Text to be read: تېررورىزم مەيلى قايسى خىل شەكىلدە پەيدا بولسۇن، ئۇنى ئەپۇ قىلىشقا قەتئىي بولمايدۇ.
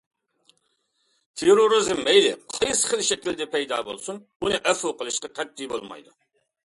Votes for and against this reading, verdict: 2, 0, accepted